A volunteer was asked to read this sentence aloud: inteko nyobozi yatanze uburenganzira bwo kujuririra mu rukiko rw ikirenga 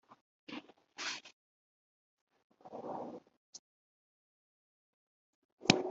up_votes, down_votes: 0, 2